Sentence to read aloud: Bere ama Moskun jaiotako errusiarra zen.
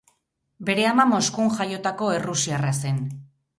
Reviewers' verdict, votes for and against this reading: rejected, 0, 2